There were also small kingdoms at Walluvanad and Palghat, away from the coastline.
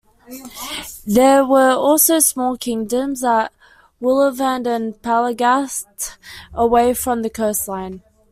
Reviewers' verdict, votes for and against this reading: rejected, 0, 2